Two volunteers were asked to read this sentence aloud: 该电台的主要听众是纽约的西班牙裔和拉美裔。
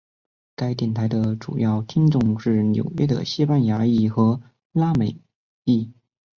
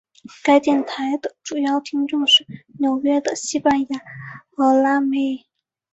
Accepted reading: first